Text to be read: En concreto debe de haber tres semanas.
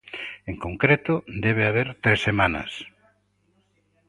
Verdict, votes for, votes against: rejected, 1, 2